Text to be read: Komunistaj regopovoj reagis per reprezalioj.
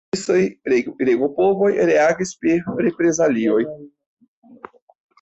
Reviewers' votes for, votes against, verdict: 1, 2, rejected